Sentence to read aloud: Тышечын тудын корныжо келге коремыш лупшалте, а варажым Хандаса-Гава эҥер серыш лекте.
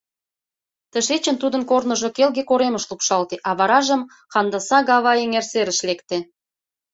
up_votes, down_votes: 2, 0